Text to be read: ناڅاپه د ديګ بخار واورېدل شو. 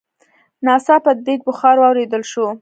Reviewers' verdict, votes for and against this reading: rejected, 1, 2